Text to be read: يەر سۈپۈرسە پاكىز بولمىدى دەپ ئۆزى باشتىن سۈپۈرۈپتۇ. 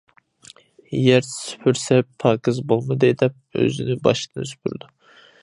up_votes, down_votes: 0, 2